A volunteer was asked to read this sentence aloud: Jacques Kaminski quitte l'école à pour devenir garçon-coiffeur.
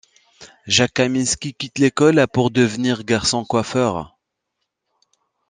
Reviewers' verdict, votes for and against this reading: accepted, 2, 0